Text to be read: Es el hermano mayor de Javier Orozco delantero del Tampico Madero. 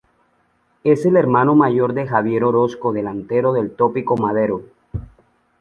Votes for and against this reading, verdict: 1, 2, rejected